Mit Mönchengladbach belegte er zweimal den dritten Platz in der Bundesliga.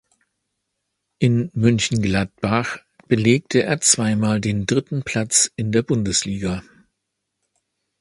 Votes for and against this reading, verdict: 0, 3, rejected